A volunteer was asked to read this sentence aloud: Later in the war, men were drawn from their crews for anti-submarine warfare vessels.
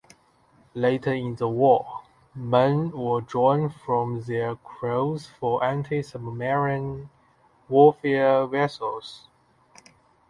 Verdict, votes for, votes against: rejected, 1, 2